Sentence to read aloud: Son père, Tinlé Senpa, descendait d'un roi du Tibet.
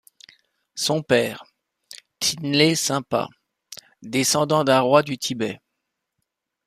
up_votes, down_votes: 0, 2